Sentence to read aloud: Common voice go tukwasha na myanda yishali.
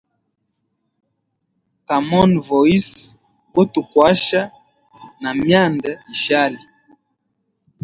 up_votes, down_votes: 2, 0